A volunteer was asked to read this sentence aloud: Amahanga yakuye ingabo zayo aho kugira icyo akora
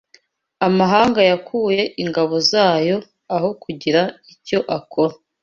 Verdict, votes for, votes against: accepted, 2, 0